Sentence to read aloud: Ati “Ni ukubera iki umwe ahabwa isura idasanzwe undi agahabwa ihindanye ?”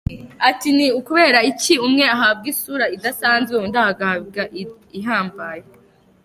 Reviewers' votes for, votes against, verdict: 0, 2, rejected